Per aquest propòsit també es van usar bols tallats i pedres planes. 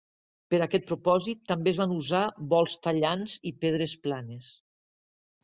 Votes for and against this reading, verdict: 1, 2, rejected